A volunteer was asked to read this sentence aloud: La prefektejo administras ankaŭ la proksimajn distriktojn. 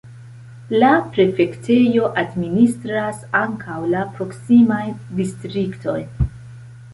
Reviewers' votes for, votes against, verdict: 1, 2, rejected